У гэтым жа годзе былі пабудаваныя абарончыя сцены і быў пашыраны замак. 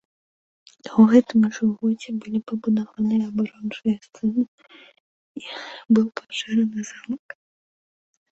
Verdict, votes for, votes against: rejected, 0, 2